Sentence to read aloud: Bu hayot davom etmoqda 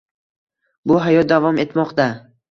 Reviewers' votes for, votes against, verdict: 2, 0, accepted